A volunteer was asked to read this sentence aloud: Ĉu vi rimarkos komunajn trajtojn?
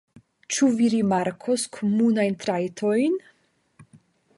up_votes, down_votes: 5, 0